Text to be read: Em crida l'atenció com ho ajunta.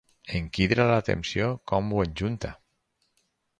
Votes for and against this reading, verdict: 2, 4, rejected